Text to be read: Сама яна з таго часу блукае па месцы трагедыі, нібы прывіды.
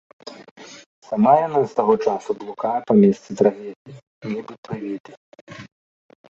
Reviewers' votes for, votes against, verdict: 0, 2, rejected